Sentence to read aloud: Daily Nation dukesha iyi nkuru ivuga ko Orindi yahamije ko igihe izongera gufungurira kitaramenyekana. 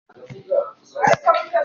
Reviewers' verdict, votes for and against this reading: rejected, 0, 2